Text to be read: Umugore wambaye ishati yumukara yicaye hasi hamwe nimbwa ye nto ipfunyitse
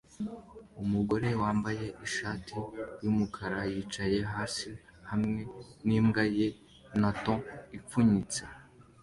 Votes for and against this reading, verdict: 2, 1, accepted